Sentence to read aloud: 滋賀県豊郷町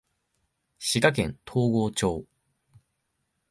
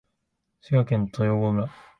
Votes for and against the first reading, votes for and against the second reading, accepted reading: 0, 2, 2, 0, second